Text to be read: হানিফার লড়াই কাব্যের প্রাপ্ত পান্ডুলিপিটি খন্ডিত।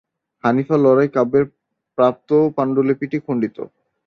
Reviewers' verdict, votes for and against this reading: accepted, 2, 0